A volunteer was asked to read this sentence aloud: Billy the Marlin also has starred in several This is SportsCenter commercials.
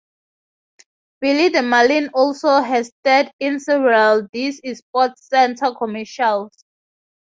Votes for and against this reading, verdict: 2, 0, accepted